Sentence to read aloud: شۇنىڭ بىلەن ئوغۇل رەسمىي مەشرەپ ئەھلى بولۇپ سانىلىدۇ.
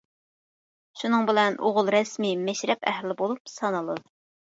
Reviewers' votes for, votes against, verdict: 1, 2, rejected